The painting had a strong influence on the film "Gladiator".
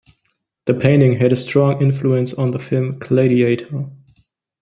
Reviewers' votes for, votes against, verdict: 2, 0, accepted